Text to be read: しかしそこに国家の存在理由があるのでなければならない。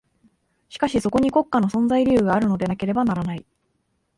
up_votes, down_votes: 3, 0